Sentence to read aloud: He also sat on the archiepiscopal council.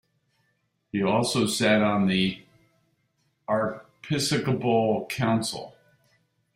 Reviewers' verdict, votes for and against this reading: rejected, 0, 2